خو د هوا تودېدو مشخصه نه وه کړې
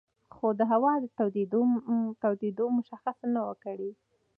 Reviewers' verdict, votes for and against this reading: accepted, 2, 0